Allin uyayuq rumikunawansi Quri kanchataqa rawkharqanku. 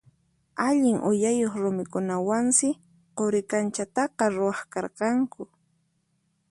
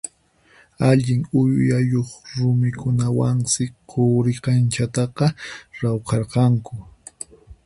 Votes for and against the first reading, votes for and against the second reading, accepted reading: 4, 2, 2, 4, first